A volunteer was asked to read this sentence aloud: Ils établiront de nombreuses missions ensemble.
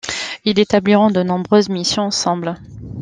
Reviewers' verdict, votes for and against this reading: rejected, 1, 2